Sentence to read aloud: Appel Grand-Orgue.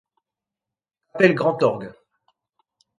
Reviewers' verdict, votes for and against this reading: rejected, 0, 2